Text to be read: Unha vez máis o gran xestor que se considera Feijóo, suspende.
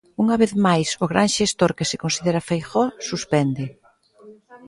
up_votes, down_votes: 3, 0